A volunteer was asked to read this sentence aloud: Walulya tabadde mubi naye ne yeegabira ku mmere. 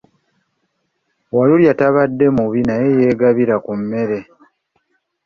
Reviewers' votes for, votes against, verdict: 0, 2, rejected